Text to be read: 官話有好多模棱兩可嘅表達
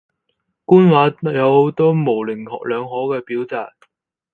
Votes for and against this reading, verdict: 2, 2, rejected